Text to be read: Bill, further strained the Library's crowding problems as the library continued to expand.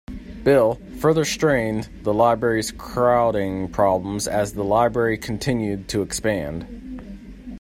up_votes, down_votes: 2, 0